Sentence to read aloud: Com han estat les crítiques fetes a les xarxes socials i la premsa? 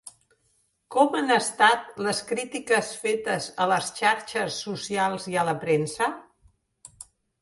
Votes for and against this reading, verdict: 0, 2, rejected